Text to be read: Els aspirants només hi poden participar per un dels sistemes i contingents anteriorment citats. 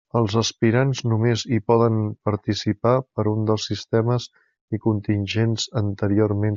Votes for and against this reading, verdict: 0, 2, rejected